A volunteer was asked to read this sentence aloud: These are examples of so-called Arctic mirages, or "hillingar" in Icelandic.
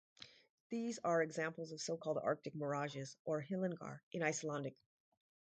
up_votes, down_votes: 4, 0